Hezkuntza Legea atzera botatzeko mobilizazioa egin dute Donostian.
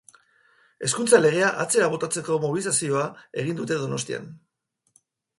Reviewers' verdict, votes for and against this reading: rejected, 2, 2